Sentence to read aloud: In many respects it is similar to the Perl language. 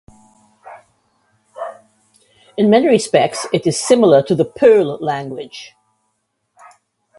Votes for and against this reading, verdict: 1, 2, rejected